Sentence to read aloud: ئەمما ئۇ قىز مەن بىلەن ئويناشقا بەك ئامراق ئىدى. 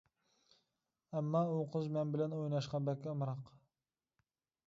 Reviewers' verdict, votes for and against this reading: rejected, 1, 2